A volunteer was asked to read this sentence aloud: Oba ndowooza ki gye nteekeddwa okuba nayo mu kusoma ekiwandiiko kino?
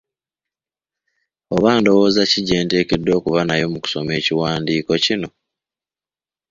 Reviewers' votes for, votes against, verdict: 2, 0, accepted